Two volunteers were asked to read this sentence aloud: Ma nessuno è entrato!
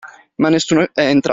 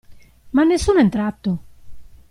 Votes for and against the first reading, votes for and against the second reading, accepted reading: 0, 2, 2, 0, second